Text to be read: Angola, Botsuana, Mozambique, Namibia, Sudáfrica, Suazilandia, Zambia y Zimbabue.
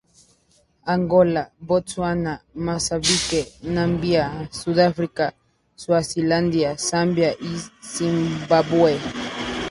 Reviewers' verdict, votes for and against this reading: rejected, 2, 2